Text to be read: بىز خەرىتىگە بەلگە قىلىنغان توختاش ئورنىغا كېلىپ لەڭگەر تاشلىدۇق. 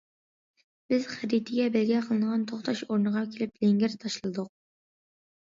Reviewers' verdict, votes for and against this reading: accepted, 2, 0